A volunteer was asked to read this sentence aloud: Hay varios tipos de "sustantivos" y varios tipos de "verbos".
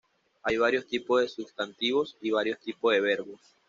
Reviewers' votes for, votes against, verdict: 2, 0, accepted